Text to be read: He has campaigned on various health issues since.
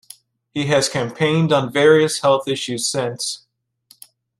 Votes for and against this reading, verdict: 2, 0, accepted